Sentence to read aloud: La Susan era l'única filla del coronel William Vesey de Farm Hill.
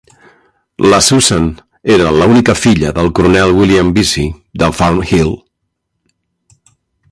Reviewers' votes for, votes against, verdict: 1, 2, rejected